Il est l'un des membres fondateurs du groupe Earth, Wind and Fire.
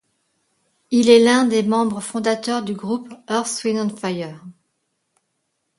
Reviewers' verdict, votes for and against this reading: rejected, 0, 2